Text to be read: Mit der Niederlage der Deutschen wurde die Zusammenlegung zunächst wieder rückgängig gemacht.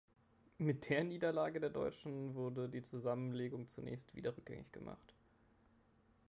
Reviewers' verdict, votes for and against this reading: rejected, 1, 3